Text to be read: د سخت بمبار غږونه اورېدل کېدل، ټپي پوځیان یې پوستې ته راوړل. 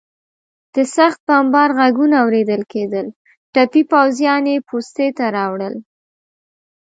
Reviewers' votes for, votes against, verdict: 2, 1, accepted